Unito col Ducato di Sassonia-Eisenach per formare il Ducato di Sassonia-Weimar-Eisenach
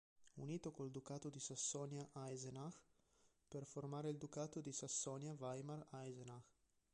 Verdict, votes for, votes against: accepted, 3, 2